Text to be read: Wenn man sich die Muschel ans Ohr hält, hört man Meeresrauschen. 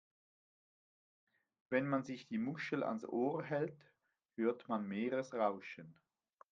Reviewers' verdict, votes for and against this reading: accepted, 2, 0